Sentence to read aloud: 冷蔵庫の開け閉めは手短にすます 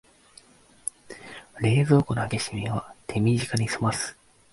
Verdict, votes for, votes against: accepted, 3, 0